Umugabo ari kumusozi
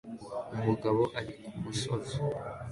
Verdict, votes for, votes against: accepted, 2, 1